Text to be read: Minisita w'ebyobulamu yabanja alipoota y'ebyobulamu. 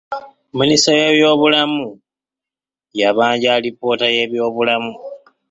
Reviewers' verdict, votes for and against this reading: accepted, 2, 0